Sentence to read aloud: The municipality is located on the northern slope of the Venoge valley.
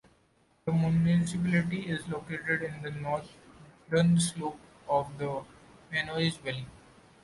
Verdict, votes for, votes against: rejected, 0, 2